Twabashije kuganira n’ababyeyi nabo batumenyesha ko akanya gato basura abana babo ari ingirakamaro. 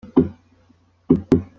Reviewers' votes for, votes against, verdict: 0, 2, rejected